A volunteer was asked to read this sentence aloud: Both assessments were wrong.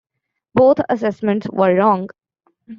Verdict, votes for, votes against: accepted, 2, 0